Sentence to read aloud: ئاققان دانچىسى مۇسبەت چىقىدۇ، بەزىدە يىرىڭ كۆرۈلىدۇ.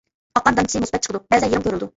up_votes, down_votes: 0, 2